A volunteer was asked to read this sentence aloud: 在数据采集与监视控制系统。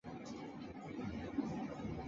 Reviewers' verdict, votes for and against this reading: accepted, 2, 1